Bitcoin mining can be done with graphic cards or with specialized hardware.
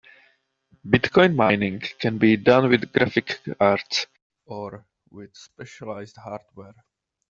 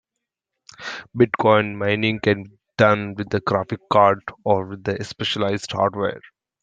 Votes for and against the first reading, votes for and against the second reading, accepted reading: 2, 0, 0, 2, first